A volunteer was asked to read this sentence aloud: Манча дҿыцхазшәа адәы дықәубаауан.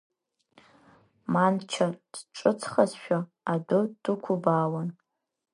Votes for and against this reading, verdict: 1, 3, rejected